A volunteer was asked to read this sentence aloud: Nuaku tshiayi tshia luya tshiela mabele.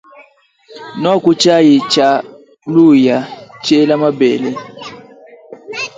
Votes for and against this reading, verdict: 1, 2, rejected